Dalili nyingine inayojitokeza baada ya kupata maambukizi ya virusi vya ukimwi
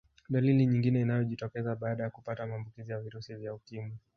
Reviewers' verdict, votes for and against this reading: accepted, 2, 0